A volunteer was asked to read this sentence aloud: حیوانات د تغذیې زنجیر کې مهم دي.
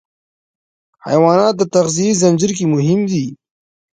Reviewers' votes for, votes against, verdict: 1, 2, rejected